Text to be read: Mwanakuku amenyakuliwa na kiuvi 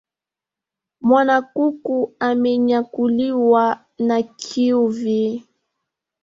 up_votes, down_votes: 2, 0